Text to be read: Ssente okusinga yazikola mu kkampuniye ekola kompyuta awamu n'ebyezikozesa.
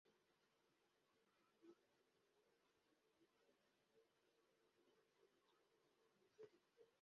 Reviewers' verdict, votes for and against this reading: rejected, 0, 2